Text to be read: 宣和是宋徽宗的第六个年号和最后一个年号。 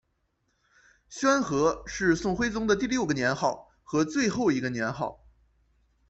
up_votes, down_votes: 2, 0